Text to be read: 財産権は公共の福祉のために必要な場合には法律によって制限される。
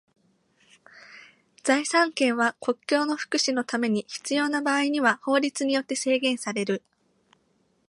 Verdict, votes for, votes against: rejected, 1, 2